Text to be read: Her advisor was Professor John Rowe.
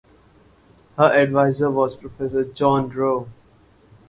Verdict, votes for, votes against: accepted, 4, 0